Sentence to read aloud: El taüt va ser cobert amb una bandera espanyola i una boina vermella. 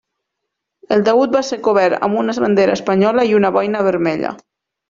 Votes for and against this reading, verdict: 1, 2, rejected